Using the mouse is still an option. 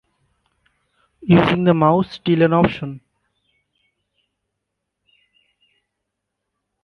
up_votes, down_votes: 2, 0